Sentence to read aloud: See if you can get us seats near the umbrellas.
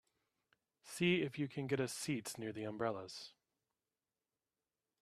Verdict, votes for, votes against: accepted, 4, 0